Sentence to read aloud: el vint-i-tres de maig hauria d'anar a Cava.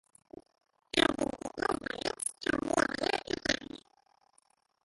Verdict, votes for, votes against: rejected, 1, 3